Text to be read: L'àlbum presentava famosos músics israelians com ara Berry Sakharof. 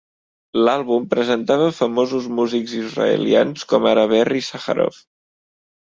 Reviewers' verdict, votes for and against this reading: rejected, 0, 2